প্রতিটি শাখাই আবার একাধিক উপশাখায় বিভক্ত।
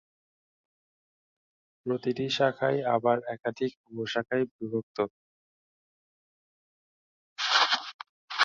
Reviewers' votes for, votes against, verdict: 3, 0, accepted